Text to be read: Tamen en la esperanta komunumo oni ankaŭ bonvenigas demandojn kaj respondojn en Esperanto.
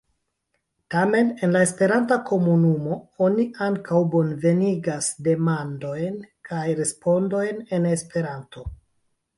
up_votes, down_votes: 0, 2